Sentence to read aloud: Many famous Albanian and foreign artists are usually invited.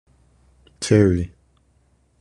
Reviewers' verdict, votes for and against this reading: rejected, 0, 2